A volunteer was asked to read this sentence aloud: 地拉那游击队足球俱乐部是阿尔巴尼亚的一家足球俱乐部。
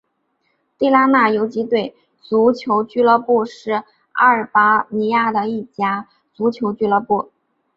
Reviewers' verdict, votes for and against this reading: accepted, 3, 0